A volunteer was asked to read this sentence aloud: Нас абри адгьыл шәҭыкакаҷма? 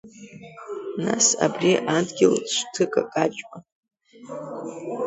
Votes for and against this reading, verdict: 2, 1, accepted